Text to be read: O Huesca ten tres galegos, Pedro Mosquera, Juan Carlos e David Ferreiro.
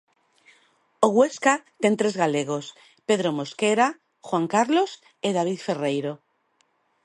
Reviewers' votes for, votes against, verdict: 2, 0, accepted